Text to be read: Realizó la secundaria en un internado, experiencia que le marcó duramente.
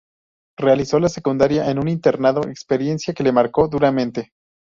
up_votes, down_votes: 2, 0